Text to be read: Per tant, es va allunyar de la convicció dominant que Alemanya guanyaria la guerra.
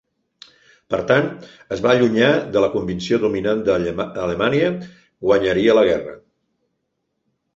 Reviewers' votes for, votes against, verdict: 1, 2, rejected